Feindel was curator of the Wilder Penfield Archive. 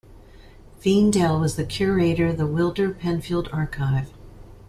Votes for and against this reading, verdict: 1, 2, rejected